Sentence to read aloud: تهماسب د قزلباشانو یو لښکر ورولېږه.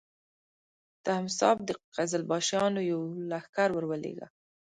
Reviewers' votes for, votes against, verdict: 0, 2, rejected